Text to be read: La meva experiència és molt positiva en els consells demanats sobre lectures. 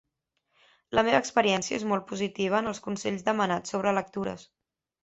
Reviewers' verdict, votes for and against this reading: accepted, 5, 0